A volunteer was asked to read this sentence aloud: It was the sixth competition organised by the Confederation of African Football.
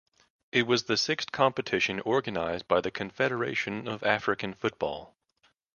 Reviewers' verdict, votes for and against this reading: accepted, 2, 0